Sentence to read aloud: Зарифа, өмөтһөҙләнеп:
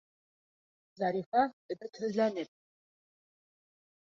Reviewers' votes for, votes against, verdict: 2, 0, accepted